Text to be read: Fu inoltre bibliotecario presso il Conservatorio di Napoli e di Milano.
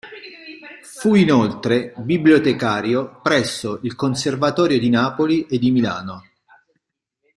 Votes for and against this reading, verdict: 2, 1, accepted